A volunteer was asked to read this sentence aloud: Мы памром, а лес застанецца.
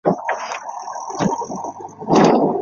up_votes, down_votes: 0, 2